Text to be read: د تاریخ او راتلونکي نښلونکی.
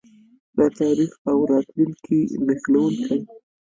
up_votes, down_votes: 0, 2